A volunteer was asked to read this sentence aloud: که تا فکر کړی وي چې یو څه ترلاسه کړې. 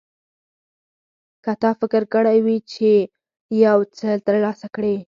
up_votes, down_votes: 4, 0